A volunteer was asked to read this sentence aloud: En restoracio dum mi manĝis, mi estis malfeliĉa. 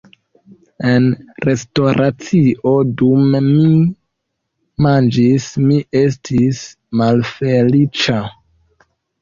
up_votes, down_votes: 1, 2